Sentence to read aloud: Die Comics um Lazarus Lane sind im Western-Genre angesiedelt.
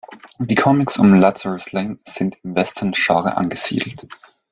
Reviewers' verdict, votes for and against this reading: accepted, 2, 0